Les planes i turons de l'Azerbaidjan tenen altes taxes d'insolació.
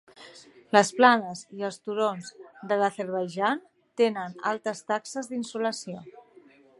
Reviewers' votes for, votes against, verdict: 1, 2, rejected